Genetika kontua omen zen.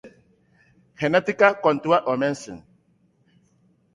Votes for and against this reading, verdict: 2, 1, accepted